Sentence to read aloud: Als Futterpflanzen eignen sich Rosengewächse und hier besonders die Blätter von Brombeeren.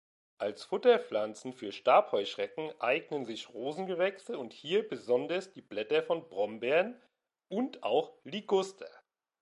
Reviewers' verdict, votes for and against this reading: rejected, 0, 2